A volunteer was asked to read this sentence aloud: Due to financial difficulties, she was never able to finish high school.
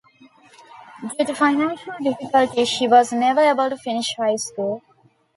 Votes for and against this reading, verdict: 1, 2, rejected